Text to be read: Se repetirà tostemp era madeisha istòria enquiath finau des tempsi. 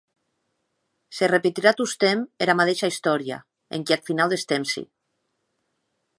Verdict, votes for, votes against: accepted, 3, 0